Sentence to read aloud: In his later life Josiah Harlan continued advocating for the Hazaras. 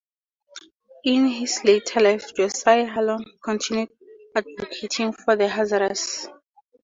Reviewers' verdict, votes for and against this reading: rejected, 0, 4